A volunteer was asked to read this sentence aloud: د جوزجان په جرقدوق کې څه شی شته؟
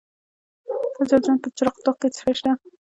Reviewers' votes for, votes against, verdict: 2, 1, accepted